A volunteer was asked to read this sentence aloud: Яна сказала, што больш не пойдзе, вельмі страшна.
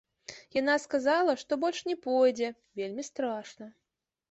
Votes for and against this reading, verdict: 2, 0, accepted